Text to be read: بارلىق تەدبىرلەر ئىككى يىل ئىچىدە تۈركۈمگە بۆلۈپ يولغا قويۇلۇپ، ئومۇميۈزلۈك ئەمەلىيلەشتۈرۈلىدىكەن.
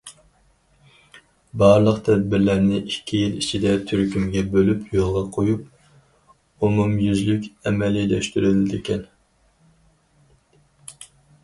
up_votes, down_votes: 0, 4